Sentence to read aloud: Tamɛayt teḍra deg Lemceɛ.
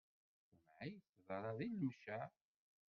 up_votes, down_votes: 1, 2